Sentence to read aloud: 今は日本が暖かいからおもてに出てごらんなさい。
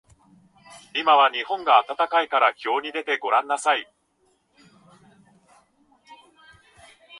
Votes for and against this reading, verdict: 0, 2, rejected